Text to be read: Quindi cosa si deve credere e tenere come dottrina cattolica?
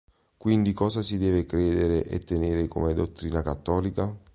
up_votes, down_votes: 2, 0